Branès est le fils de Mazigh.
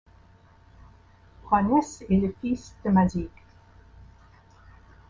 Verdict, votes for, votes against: accepted, 2, 1